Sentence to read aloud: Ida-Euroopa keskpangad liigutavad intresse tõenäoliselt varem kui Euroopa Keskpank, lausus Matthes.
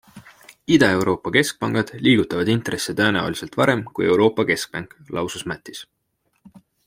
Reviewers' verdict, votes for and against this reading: accepted, 2, 1